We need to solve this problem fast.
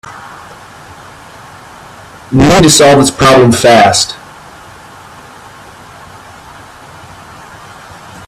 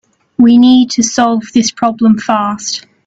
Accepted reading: second